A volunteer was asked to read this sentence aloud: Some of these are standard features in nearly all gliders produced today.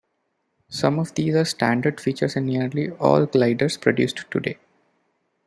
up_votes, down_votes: 2, 0